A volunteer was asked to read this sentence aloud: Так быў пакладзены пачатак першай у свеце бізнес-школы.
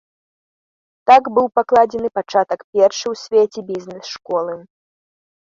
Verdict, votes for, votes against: accepted, 2, 0